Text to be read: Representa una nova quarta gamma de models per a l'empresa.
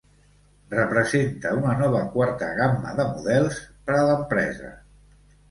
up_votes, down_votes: 3, 0